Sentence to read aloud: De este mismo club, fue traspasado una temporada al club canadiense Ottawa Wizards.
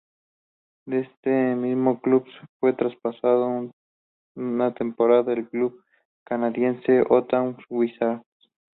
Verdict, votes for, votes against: rejected, 0, 2